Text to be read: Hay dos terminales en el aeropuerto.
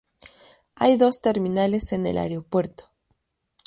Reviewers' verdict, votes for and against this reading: accepted, 2, 0